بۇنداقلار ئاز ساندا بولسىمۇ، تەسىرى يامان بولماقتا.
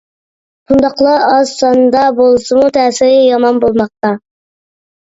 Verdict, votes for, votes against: accepted, 2, 0